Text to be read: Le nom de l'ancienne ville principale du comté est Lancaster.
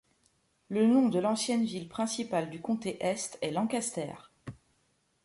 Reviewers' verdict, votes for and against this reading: rejected, 0, 2